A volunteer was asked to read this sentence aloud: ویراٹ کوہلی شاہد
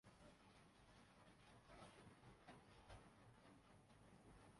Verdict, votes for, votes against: rejected, 0, 2